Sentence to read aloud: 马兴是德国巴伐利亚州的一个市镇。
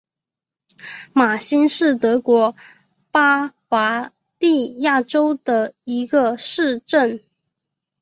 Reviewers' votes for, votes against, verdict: 3, 0, accepted